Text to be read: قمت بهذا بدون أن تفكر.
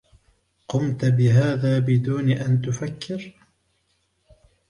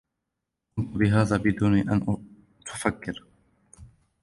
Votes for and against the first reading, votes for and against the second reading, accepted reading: 2, 0, 1, 2, first